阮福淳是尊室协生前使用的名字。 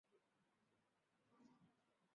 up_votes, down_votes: 0, 2